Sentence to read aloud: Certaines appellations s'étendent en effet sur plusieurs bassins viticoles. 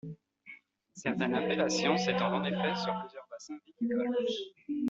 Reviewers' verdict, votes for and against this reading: rejected, 0, 2